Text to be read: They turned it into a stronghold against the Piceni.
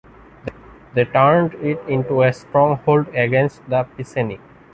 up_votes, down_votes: 2, 0